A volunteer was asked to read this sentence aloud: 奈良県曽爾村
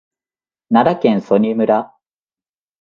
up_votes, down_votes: 3, 0